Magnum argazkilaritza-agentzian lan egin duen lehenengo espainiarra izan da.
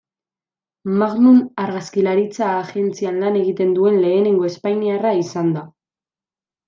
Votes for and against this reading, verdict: 0, 2, rejected